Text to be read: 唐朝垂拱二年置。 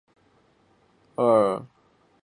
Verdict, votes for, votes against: rejected, 0, 2